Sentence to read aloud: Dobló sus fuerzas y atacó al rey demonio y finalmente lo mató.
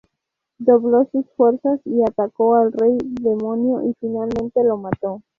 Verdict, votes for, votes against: rejected, 0, 2